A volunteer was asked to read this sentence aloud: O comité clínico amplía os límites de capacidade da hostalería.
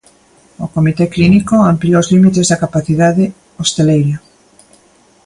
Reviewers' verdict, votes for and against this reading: rejected, 0, 2